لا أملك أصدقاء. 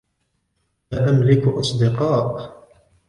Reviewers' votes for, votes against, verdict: 2, 0, accepted